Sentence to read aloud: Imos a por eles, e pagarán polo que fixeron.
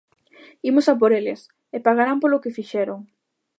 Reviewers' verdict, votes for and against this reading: accepted, 2, 0